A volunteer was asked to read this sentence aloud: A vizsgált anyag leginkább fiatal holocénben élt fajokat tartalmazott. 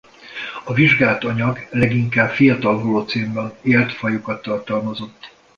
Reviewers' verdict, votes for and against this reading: rejected, 1, 2